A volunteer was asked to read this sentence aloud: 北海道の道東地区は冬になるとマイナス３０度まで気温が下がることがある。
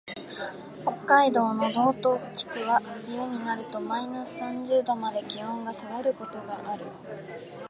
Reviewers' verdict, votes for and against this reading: rejected, 0, 2